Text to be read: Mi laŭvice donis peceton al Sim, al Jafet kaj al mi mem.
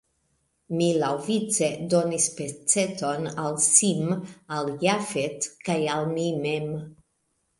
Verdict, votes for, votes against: rejected, 1, 2